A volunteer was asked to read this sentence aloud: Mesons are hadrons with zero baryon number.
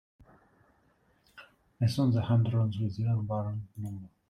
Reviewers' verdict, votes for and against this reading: rejected, 1, 2